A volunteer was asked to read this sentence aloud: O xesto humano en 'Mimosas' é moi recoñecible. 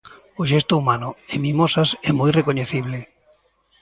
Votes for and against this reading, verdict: 2, 0, accepted